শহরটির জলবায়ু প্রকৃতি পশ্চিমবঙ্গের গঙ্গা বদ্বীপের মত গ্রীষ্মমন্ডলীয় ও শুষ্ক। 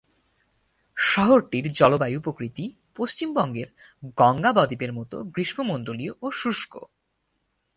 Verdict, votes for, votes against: accepted, 8, 0